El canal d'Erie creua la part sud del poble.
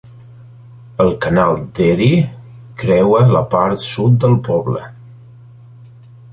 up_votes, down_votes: 2, 0